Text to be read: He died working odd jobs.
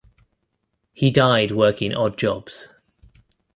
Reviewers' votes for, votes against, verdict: 3, 0, accepted